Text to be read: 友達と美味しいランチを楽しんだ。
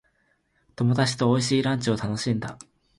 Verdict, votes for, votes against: accepted, 3, 0